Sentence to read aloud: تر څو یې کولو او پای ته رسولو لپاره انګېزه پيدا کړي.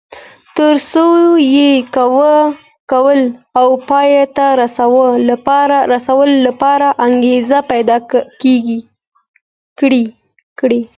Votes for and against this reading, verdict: 2, 1, accepted